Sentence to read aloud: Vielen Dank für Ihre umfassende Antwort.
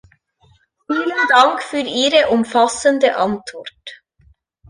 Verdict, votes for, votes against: rejected, 0, 2